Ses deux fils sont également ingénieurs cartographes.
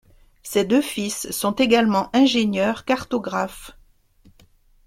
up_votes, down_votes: 2, 0